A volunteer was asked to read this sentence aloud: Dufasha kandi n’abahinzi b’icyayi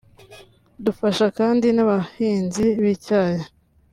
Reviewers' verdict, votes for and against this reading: accepted, 2, 0